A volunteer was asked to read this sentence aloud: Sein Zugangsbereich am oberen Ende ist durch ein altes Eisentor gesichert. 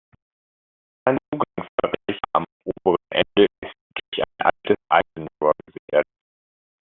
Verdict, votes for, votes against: rejected, 0, 2